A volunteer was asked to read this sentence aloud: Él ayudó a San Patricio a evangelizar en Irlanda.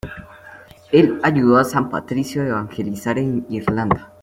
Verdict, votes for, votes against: accepted, 2, 1